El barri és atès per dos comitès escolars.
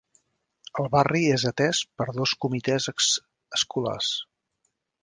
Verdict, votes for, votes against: rejected, 1, 2